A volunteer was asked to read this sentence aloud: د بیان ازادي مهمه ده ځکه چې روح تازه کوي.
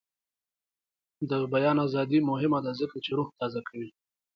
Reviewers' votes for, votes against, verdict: 2, 0, accepted